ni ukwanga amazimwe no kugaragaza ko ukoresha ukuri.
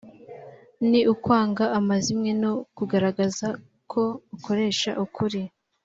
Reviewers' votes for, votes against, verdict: 4, 0, accepted